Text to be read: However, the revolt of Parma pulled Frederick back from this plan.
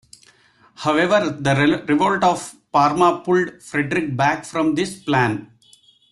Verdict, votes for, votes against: accepted, 2, 0